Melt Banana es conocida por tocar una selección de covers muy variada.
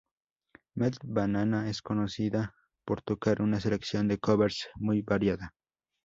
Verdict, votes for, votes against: accepted, 2, 0